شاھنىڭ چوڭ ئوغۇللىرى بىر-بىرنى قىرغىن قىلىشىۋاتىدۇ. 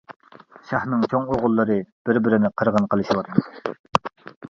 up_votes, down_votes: 1, 2